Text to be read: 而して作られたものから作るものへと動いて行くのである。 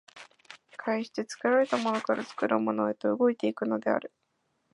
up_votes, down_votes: 0, 2